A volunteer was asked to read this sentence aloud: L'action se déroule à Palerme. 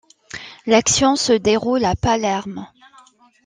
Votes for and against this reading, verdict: 2, 0, accepted